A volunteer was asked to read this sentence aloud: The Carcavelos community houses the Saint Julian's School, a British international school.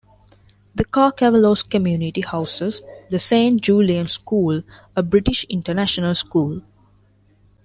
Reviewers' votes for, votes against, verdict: 2, 0, accepted